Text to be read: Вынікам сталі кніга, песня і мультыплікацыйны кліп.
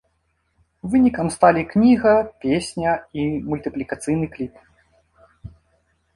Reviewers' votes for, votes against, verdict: 2, 0, accepted